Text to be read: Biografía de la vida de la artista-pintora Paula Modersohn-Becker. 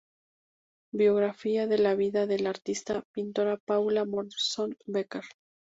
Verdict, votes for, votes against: rejected, 0, 2